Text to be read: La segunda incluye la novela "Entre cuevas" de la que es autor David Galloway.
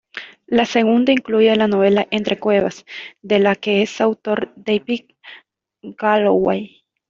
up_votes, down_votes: 2, 1